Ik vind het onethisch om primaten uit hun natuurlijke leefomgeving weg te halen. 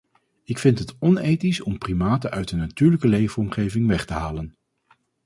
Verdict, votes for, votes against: accepted, 4, 0